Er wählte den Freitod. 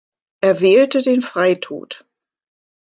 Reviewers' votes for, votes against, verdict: 4, 0, accepted